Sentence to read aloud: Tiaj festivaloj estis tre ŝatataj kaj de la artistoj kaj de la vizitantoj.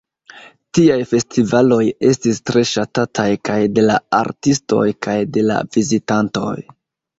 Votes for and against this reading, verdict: 1, 2, rejected